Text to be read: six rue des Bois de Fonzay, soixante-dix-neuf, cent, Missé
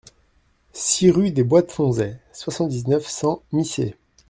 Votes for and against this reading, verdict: 2, 0, accepted